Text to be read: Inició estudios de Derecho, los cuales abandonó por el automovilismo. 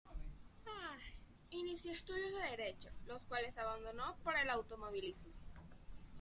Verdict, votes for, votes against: rejected, 0, 3